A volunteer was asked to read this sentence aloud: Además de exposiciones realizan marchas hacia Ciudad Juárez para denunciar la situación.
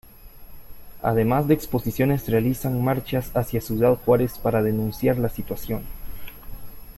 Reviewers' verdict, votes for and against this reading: accepted, 2, 0